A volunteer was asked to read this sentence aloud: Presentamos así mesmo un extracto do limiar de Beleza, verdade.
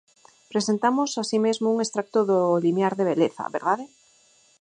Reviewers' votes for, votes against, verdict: 4, 2, accepted